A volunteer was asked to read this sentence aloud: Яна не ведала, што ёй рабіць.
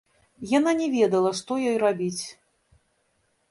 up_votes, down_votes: 1, 2